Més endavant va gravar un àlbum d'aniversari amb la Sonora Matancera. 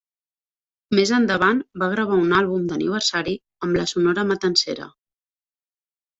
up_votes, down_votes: 2, 0